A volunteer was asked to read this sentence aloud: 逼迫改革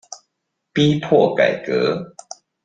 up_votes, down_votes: 2, 0